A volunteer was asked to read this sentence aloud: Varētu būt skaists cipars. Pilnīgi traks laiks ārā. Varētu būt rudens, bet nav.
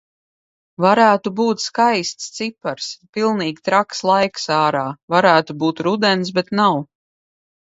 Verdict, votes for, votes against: accepted, 2, 0